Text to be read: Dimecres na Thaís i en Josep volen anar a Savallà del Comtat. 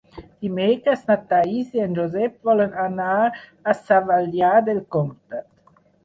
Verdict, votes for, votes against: rejected, 2, 6